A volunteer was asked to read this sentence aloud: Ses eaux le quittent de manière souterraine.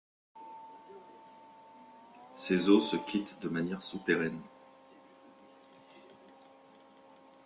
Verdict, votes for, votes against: rejected, 0, 2